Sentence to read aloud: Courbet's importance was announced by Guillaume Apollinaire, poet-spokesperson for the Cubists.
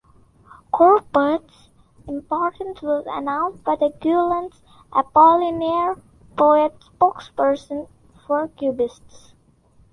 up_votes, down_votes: 0, 2